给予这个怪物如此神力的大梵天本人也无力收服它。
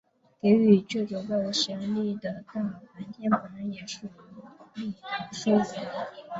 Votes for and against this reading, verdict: 0, 2, rejected